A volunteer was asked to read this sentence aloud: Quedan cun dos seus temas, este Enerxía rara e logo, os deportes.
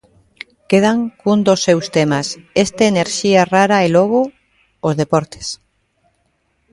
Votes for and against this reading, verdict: 1, 2, rejected